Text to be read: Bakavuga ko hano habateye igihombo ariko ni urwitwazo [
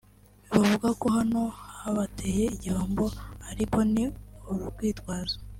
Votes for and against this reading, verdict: 1, 2, rejected